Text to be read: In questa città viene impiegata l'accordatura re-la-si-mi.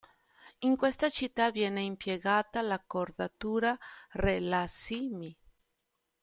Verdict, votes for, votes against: accepted, 2, 0